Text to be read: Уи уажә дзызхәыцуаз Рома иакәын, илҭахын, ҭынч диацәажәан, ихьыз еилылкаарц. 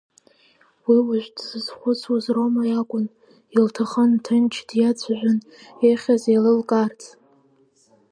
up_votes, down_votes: 2, 0